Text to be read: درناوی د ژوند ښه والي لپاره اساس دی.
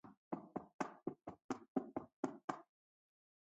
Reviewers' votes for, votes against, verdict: 0, 4, rejected